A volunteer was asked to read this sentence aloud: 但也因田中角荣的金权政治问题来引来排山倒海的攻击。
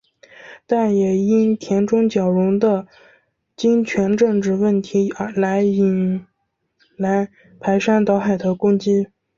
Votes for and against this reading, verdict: 2, 0, accepted